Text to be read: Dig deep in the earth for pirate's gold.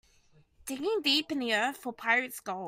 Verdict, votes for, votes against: rejected, 1, 2